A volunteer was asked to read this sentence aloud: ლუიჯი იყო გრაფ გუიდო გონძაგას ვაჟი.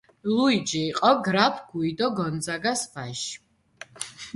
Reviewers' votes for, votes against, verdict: 2, 0, accepted